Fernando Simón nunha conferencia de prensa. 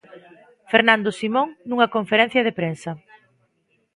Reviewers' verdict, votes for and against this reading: accepted, 2, 0